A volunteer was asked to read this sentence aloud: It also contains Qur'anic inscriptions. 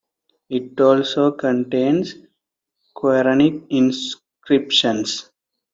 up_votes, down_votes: 2, 0